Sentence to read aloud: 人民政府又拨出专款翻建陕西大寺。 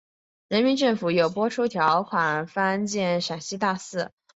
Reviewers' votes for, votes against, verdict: 2, 0, accepted